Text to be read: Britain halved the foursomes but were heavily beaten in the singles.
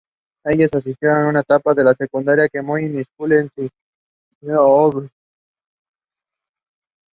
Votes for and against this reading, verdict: 0, 2, rejected